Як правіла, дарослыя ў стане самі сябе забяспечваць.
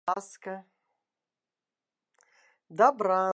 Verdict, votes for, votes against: rejected, 0, 2